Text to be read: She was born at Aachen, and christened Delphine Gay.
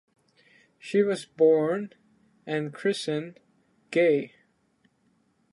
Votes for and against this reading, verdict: 0, 3, rejected